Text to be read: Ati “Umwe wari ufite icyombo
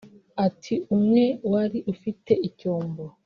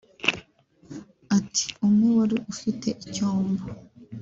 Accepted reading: second